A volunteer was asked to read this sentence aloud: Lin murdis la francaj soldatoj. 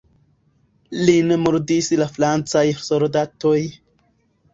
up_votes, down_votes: 0, 2